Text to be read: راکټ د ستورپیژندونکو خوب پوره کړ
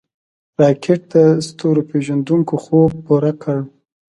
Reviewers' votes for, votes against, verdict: 2, 0, accepted